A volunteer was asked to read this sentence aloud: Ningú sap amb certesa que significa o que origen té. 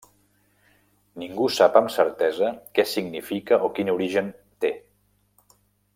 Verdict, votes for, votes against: rejected, 1, 2